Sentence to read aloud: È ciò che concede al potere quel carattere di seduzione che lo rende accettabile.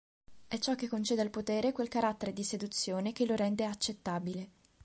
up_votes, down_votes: 2, 0